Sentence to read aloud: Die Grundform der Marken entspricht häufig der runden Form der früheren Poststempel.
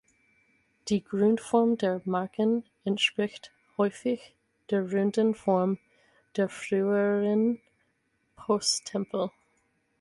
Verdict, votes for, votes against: rejected, 0, 4